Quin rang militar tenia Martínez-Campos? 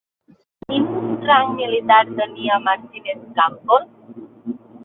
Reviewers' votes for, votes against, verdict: 2, 0, accepted